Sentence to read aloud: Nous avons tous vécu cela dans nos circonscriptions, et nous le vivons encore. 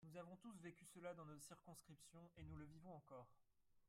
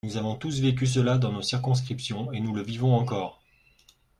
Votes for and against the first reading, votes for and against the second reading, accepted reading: 1, 2, 2, 0, second